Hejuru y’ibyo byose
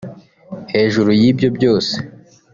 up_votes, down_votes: 0, 2